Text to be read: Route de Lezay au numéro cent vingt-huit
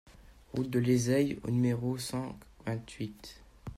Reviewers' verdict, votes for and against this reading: rejected, 1, 2